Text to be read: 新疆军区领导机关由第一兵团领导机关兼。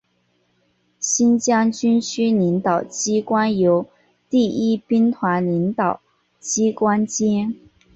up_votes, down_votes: 3, 0